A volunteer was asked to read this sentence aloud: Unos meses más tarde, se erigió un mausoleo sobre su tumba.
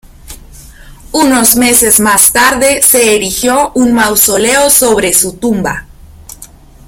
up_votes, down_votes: 1, 3